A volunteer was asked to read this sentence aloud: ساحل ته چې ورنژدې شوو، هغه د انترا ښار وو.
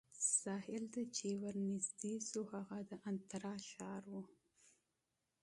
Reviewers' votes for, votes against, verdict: 0, 2, rejected